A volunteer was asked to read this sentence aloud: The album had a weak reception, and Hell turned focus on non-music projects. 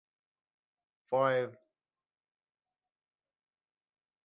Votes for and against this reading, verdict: 0, 2, rejected